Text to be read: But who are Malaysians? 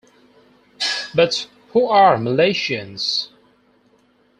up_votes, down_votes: 4, 2